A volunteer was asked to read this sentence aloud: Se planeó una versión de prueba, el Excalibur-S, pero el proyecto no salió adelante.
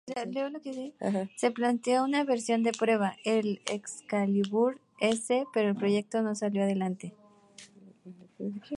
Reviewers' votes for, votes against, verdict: 2, 0, accepted